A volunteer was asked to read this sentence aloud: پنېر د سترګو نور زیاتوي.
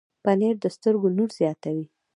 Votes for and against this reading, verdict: 0, 2, rejected